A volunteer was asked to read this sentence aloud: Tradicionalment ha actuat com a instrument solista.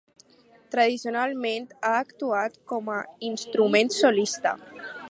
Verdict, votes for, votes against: rejected, 0, 2